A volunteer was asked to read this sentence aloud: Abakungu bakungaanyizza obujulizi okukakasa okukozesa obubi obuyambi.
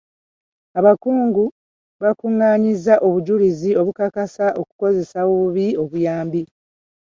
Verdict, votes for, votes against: rejected, 0, 2